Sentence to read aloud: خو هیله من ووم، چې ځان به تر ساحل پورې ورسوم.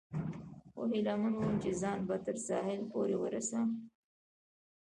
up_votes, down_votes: 0, 2